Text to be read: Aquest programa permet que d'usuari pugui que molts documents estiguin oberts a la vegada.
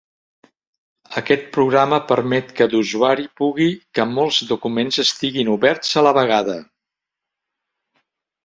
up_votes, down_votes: 3, 1